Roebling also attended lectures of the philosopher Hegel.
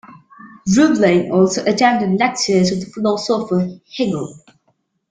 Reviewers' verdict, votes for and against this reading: rejected, 1, 2